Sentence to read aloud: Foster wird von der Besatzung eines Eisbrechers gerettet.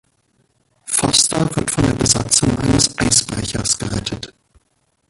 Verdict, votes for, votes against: accepted, 2, 0